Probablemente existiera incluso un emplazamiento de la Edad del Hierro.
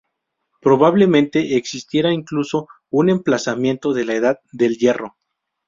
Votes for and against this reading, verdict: 2, 0, accepted